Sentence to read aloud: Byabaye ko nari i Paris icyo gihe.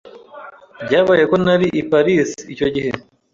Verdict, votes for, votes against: accepted, 2, 0